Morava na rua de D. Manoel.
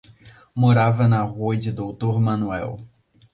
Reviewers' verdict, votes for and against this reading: rejected, 0, 2